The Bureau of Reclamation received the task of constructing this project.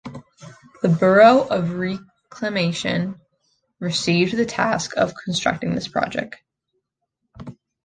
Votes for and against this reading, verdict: 1, 2, rejected